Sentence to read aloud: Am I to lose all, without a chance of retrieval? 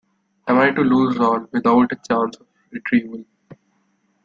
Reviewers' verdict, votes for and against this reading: accepted, 2, 0